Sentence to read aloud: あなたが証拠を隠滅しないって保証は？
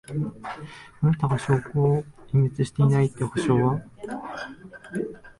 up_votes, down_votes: 7, 10